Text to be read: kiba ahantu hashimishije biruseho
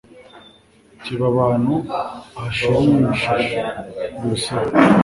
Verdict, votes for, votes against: rejected, 0, 2